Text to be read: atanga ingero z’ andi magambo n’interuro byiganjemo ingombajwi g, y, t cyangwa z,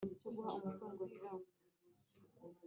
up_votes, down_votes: 1, 2